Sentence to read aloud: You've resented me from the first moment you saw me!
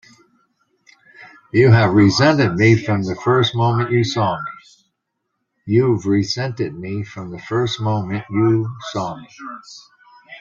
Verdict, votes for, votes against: rejected, 1, 2